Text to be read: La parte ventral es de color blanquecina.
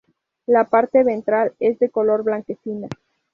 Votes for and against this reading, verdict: 0, 2, rejected